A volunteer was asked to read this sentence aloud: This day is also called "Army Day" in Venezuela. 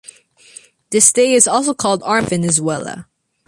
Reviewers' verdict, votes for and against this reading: rejected, 0, 2